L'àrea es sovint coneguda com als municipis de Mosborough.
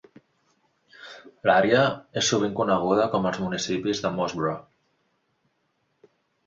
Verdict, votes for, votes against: accepted, 2, 0